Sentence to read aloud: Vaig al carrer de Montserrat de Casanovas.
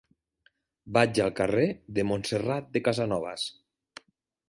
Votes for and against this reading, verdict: 3, 0, accepted